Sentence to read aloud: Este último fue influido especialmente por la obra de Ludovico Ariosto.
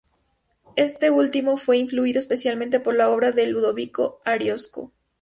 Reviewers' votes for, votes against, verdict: 0, 2, rejected